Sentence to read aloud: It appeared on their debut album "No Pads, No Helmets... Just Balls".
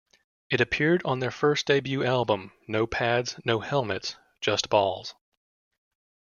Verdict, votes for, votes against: rejected, 1, 2